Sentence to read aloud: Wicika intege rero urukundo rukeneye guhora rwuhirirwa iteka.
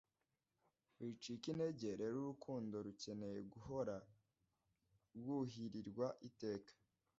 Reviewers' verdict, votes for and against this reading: rejected, 1, 2